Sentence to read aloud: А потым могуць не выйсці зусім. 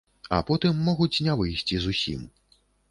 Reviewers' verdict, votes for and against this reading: accepted, 3, 0